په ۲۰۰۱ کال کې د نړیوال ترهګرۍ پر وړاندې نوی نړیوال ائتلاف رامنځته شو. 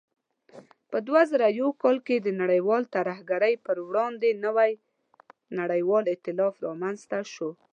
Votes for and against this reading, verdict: 0, 2, rejected